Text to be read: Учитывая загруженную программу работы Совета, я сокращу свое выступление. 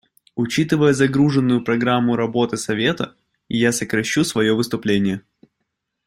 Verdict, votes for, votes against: accepted, 2, 0